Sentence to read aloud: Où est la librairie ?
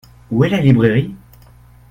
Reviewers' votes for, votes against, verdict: 2, 0, accepted